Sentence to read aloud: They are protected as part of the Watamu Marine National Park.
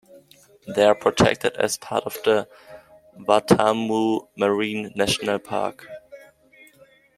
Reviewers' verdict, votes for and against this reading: rejected, 0, 2